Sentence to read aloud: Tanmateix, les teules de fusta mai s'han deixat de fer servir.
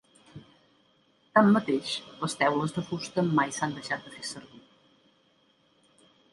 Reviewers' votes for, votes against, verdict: 0, 2, rejected